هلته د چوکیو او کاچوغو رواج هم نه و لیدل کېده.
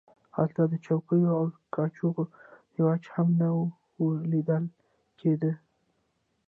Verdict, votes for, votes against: rejected, 0, 2